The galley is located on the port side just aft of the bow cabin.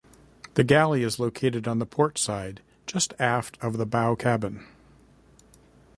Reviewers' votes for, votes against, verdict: 0, 2, rejected